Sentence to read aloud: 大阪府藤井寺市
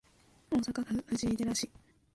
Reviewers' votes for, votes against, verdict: 3, 4, rejected